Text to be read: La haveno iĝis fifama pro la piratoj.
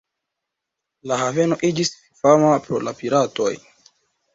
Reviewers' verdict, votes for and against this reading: rejected, 1, 2